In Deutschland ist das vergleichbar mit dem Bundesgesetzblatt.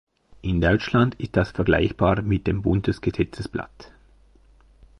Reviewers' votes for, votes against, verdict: 1, 2, rejected